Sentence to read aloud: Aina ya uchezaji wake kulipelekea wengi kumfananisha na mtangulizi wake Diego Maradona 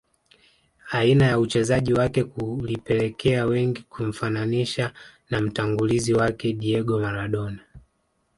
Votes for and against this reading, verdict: 1, 2, rejected